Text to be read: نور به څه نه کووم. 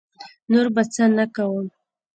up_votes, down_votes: 0, 2